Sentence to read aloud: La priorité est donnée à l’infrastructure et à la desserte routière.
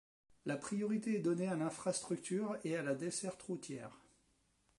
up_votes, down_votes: 3, 1